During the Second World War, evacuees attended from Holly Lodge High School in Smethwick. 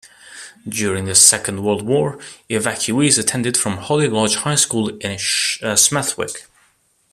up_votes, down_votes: 1, 2